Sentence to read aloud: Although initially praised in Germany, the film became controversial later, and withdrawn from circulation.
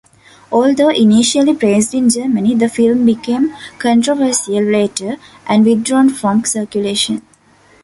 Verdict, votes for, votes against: accepted, 2, 1